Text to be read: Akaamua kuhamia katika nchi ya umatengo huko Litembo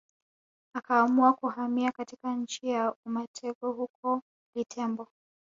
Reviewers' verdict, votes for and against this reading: accepted, 2, 1